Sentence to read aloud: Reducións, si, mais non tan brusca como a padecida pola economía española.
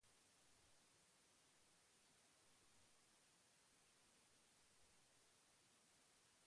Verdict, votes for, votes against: rejected, 0, 3